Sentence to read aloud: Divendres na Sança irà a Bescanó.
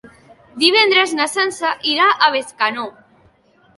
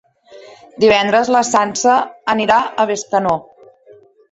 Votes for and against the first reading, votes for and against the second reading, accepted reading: 3, 0, 0, 2, first